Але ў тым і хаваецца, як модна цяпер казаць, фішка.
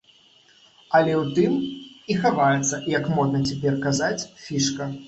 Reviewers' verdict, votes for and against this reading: accepted, 2, 0